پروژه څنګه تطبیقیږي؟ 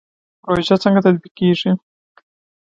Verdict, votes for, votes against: accepted, 2, 1